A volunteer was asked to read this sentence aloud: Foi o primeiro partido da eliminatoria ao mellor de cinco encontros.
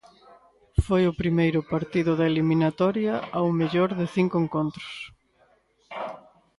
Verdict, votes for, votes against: accepted, 2, 0